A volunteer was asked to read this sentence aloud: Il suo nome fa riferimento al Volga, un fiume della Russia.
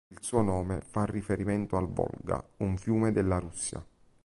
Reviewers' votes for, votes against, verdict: 2, 0, accepted